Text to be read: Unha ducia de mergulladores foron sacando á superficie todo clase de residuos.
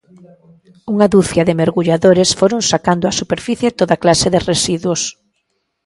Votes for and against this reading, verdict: 1, 2, rejected